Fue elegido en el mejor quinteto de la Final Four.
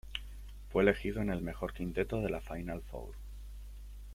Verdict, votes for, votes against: rejected, 0, 2